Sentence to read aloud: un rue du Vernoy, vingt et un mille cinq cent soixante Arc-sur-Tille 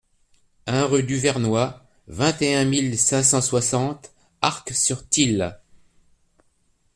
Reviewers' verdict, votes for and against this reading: accepted, 2, 0